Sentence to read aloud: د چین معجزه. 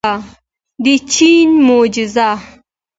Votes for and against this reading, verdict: 2, 1, accepted